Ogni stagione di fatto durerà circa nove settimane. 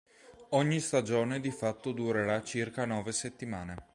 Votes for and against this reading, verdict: 3, 0, accepted